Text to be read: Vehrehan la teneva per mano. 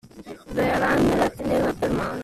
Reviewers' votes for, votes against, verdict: 0, 2, rejected